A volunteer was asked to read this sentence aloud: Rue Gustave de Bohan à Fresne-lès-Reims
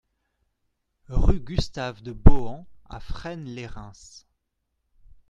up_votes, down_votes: 2, 0